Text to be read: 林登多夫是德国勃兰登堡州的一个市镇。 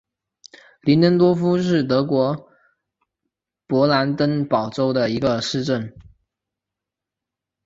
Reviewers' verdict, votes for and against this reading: accepted, 2, 0